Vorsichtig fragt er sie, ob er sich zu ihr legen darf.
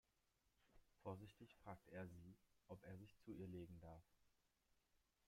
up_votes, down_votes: 0, 2